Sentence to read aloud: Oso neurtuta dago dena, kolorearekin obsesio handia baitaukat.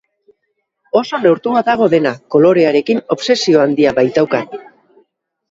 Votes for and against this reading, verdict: 0, 2, rejected